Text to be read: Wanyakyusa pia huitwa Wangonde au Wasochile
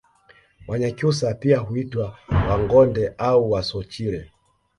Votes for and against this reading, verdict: 2, 1, accepted